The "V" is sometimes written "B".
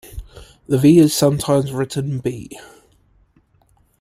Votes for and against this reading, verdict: 2, 0, accepted